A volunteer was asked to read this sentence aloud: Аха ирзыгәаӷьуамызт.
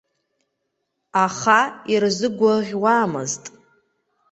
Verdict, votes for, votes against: accepted, 2, 1